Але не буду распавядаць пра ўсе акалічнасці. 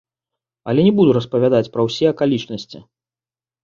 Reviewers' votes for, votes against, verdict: 2, 0, accepted